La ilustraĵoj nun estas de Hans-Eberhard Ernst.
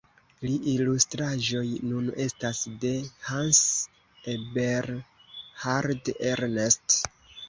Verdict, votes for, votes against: accepted, 2, 0